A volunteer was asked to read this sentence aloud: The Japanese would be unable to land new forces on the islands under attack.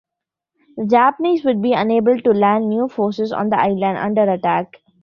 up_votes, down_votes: 1, 2